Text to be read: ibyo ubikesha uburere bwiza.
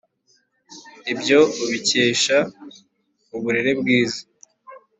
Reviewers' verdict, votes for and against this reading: accepted, 2, 0